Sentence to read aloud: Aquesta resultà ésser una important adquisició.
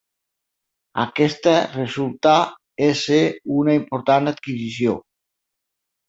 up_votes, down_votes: 4, 0